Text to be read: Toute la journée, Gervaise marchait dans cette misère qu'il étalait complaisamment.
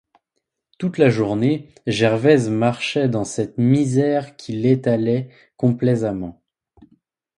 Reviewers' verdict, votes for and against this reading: accepted, 2, 0